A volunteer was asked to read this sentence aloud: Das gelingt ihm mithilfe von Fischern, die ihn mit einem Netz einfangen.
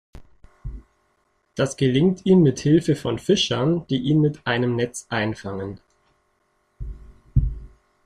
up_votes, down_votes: 2, 0